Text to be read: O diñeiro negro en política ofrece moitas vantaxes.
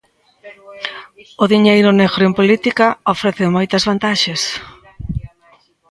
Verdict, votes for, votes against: rejected, 1, 2